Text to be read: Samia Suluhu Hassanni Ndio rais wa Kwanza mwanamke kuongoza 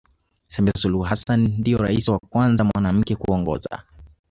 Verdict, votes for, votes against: rejected, 1, 2